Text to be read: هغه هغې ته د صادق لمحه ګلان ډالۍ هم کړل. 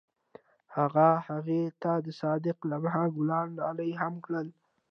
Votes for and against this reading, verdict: 2, 1, accepted